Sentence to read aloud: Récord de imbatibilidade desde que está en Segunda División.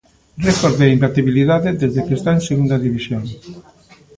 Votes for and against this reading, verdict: 1, 2, rejected